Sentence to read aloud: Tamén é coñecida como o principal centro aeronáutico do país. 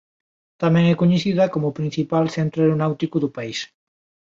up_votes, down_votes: 2, 0